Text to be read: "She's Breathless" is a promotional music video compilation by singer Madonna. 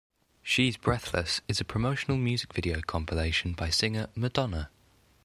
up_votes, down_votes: 3, 1